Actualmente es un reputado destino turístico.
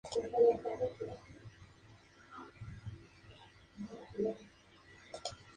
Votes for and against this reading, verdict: 0, 2, rejected